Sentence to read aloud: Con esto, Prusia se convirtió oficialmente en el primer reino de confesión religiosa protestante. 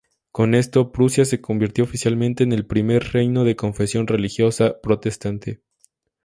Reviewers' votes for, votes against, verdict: 0, 2, rejected